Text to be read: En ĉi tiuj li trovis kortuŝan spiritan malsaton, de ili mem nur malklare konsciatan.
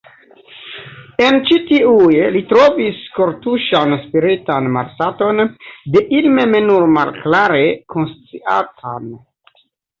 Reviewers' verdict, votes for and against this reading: accepted, 2, 0